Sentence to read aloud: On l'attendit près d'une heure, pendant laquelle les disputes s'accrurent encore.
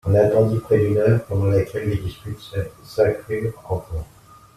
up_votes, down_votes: 0, 2